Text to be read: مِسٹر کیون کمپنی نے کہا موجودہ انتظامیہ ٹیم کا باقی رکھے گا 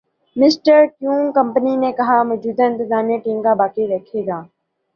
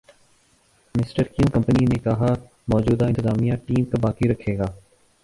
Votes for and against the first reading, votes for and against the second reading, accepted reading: 2, 0, 0, 2, first